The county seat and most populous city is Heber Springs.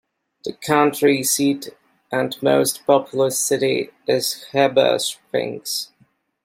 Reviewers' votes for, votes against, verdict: 3, 0, accepted